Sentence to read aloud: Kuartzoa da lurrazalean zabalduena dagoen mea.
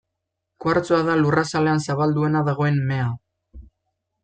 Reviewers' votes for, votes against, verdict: 2, 0, accepted